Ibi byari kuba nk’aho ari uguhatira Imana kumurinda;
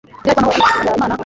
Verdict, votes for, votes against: rejected, 1, 2